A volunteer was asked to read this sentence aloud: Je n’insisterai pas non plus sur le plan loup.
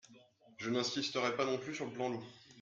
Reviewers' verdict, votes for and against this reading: accepted, 2, 0